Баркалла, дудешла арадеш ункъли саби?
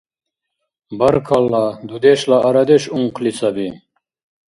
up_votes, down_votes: 2, 0